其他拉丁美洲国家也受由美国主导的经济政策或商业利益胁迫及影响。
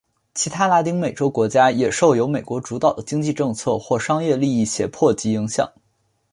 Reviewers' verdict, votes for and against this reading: accepted, 3, 0